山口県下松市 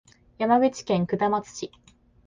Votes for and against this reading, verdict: 7, 0, accepted